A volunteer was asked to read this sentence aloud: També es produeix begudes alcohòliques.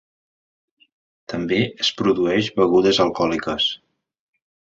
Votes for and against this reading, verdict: 2, 0, accepted